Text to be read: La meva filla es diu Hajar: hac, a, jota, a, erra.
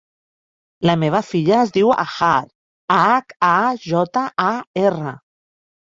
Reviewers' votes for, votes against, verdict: 1, 2, rejected